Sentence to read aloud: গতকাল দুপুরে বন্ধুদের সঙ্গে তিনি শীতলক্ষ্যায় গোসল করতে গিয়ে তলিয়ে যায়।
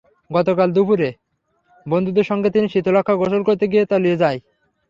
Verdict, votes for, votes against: accepted, 6, 0